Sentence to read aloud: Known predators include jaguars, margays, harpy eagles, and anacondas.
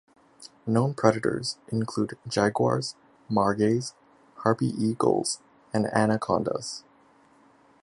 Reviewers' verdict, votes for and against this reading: accepted, 2, 1